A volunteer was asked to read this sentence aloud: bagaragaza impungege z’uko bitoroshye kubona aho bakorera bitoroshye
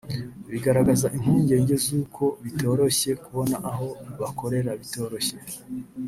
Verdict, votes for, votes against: rejected, 1, 2